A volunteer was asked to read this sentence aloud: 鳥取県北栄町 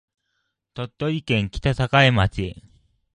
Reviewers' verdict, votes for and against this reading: accepted, 2, 0